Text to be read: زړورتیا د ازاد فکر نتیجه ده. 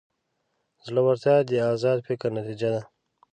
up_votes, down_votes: 2, 0